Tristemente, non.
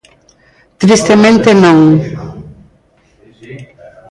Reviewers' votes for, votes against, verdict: 0, 3, rejected